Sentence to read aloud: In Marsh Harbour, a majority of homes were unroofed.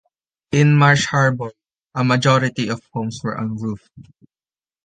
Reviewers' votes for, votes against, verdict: 2, 0, accepted